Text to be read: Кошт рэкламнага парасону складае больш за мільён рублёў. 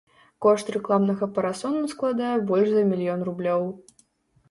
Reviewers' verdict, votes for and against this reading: accepted, 2, 0